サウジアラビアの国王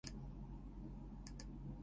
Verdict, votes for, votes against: rejected, 0, 2